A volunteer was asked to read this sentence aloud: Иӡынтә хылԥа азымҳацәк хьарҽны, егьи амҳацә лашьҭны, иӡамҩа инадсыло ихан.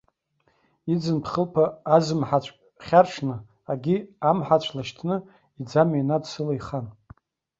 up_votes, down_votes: 0, 2